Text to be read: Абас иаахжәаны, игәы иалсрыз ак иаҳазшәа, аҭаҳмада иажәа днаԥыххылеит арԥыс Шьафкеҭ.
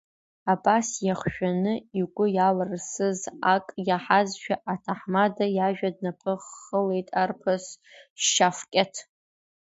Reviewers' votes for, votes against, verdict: 1, 2, rejected